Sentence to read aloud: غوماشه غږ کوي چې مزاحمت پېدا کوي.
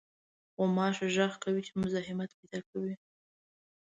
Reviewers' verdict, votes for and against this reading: accepted, 2, 0